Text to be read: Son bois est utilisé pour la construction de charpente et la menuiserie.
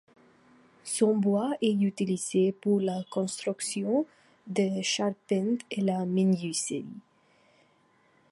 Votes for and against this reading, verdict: 2, 0, accepted